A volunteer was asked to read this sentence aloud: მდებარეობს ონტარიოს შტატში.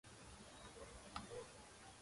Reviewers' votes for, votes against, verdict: 0, 2, rejected